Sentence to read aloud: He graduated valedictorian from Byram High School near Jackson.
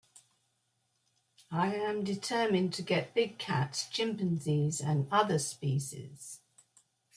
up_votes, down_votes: 0, 2